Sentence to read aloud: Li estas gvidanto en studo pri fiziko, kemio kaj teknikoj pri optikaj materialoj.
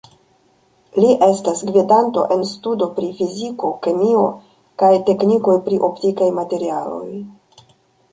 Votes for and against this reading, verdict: 2, 0, accepted